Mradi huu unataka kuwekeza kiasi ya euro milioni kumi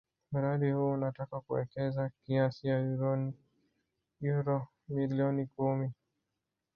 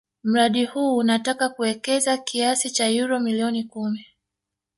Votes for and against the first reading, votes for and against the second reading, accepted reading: 0, 2, 3, 2, second